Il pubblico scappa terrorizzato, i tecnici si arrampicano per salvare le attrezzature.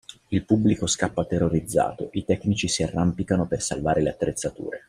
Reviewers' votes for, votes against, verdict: 2, 0, accepted